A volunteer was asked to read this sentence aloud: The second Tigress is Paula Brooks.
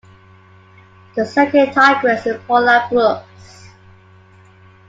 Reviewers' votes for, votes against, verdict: 2, 1, accepted